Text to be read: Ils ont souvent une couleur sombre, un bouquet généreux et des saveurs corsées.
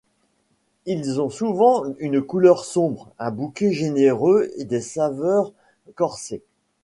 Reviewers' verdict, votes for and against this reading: accepted, 2, 0